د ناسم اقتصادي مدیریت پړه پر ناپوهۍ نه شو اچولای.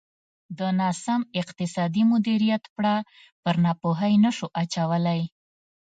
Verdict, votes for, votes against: rejected, 0, 2